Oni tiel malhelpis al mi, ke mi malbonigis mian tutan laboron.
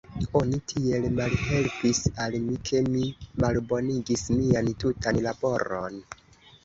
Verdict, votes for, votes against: rejected, 1, 2